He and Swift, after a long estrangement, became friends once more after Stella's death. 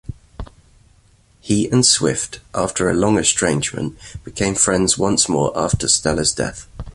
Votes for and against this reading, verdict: 2, 0, accepted